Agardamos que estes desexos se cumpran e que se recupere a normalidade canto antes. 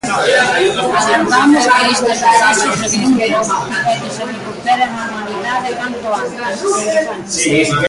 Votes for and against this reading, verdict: 0, 2, rejected